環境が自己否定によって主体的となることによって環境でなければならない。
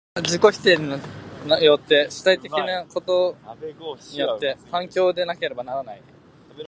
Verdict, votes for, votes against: rejected, 0, 2